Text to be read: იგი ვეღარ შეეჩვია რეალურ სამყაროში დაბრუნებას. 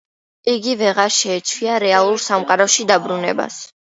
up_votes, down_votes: 2, 0